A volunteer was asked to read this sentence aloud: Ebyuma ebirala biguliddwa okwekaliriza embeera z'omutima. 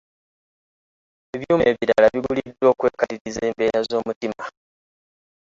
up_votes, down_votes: 0, 2